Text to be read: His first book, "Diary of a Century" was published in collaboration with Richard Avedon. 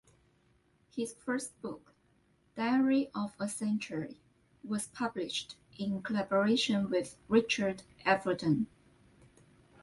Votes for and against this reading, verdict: 2, 0, accepted